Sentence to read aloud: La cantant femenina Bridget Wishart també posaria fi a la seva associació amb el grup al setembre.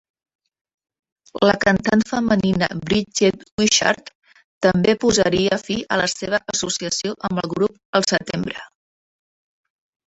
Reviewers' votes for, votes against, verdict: 0, 2, rejected